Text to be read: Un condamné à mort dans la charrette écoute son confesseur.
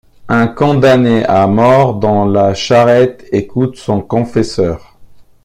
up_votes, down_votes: 2, 0